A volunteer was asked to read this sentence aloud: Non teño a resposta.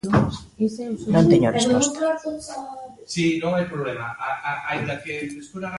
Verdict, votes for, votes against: rejected, 0, 2